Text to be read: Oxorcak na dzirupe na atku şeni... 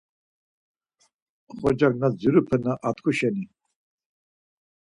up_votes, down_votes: 4, 0